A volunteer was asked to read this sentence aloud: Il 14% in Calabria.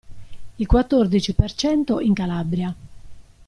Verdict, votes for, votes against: rejected, 0, 2